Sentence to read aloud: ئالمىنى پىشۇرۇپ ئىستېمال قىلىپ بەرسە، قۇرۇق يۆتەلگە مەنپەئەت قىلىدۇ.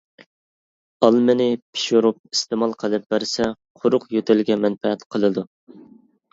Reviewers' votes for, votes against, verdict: 2, 0, accepted